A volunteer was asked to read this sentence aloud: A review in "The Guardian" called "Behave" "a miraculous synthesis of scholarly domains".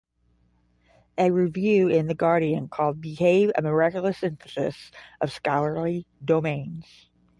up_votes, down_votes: 5, 0